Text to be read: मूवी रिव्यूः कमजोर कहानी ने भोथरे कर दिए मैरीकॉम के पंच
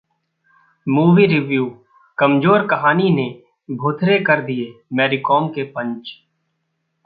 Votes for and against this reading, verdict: 0, 2, rejected